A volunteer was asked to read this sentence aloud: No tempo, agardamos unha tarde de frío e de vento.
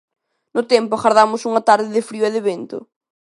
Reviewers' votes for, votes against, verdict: 2, 0, accepted